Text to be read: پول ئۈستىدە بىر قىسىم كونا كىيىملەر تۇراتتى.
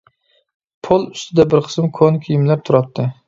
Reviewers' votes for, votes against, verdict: 2, 0, accepted